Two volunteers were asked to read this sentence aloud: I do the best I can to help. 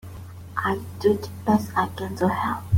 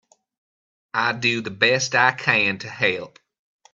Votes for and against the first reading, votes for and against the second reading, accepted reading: 0, 2, 2, 0, second